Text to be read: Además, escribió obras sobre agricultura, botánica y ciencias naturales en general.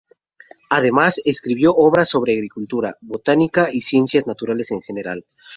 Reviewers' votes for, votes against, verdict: 0, 2, rejected